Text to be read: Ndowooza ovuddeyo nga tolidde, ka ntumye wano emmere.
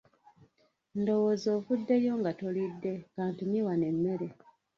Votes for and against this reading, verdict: 1, 2, rejected